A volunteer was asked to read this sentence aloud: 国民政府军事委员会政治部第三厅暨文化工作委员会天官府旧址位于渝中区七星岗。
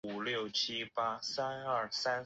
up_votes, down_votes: 0, 2